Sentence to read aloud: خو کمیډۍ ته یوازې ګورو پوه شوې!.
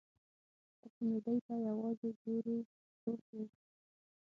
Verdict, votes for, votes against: rejected, 3, 9